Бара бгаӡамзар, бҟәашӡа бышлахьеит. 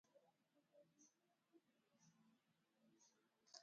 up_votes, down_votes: 0, 2